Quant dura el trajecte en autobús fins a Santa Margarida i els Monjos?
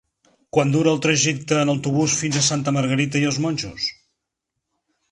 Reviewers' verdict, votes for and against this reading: rejected, 1, 3